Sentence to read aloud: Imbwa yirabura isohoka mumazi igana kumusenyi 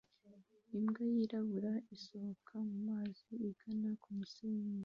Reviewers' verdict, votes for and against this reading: accepted, 2, 0